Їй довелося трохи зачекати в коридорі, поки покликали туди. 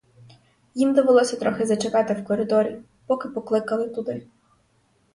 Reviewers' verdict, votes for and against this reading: rejected, 0, 2